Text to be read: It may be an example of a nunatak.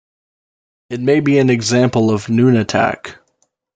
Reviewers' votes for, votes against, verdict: 1, 2, rejected